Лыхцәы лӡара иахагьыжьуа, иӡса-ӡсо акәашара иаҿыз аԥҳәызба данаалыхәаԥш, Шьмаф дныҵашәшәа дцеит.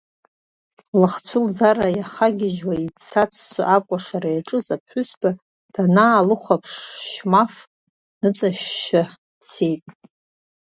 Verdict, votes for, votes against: accepted, 2, 0